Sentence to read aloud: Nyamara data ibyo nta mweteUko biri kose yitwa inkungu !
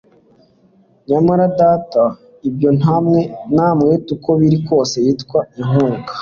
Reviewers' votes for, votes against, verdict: 1, 2, rejected